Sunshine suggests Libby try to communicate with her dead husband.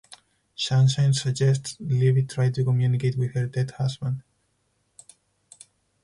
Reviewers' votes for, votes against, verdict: 2, 4, rejected